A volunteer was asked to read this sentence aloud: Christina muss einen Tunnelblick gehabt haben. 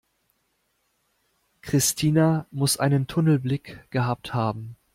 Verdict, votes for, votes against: accepted, 2, 0